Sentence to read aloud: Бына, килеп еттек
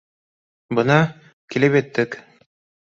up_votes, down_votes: 2, 0